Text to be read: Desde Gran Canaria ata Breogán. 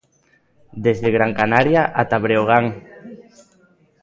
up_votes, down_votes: 2, 0